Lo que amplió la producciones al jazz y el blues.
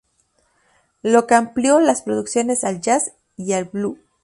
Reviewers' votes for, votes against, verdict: 2, 2, rejected